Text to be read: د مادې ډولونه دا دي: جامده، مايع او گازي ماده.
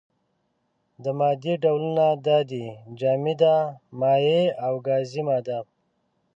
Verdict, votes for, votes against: accepted, 2, 0